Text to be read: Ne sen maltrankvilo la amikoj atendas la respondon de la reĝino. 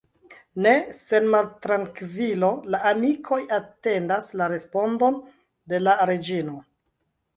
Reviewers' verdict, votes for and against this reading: rejected, 0, 2